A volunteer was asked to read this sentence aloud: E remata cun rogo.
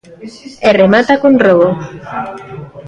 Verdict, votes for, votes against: rejected, 0, 2